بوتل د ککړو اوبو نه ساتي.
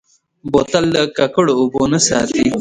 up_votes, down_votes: 2, 0